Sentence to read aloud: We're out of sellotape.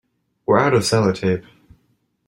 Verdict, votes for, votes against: accepted, 2, 0